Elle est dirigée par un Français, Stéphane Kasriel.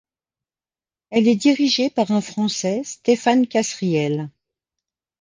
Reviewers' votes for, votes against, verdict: 2, 0, accepted